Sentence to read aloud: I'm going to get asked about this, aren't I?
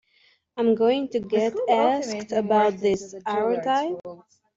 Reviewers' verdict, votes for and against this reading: accepted, 2, 1